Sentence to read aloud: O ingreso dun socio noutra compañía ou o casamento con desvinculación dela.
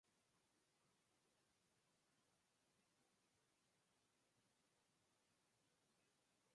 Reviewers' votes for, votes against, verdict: 0, 4, rejected